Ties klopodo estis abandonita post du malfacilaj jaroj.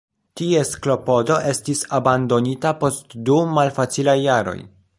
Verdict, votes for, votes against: rejected, 0, 2